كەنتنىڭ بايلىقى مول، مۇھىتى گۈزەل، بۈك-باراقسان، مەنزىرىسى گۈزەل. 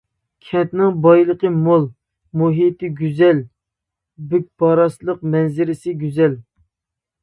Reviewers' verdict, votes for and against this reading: rejected, 0, 2